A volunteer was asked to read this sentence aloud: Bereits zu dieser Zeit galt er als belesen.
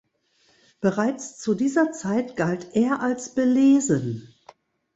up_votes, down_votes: 2, 0